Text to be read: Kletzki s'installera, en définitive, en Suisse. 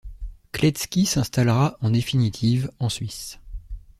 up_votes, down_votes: 2, 0